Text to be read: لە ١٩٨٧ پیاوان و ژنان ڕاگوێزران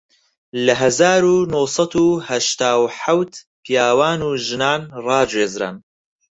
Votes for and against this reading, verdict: 0, 2, rejected